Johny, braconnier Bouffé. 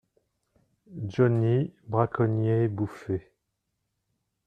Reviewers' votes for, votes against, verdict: 0, 2, rejected